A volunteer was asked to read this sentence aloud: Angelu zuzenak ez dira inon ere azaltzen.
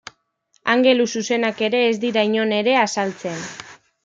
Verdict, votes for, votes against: rejected, 0, 2